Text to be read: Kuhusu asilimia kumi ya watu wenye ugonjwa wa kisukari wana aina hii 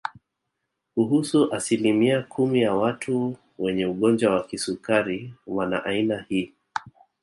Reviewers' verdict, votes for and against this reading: accepted, 2, 0